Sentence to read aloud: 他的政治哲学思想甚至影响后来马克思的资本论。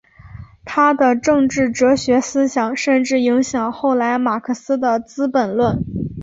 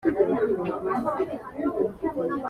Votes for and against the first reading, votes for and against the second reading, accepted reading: 5, 0, 0, 2, first